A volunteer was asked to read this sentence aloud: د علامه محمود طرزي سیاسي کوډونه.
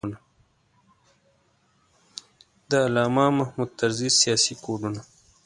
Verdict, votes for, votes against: rejected, 1, 2